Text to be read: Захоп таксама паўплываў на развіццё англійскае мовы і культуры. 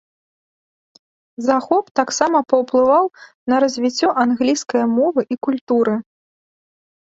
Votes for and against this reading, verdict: 3, 0, accepted